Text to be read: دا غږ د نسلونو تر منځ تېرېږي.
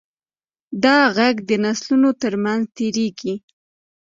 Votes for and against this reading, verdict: 2, 0, accepted